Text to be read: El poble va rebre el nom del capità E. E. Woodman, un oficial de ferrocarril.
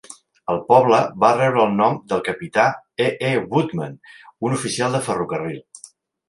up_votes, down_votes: 3, 0